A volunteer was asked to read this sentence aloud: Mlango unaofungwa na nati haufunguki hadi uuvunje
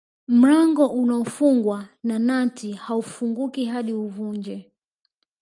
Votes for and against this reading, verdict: 2, 0, accepted